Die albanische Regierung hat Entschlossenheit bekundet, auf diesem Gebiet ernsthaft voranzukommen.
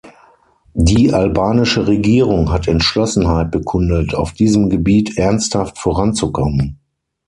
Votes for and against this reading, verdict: 6, 0, accepted